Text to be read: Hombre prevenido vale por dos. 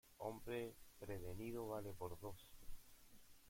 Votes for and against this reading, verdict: 1, 2, rejected